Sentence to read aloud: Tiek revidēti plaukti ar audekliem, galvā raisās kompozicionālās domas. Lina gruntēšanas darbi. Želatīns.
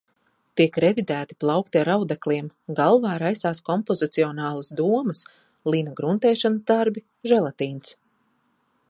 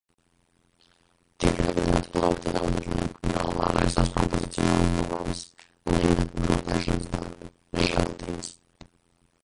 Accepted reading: first